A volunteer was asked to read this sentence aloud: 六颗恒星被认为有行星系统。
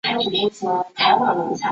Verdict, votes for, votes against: rejected, 0, 2